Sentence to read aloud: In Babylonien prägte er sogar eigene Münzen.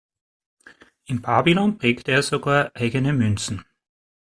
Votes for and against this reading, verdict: 0, 2, rejected